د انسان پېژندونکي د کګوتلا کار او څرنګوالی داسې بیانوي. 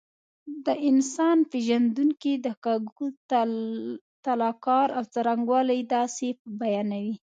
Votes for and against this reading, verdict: 2, 0, accepted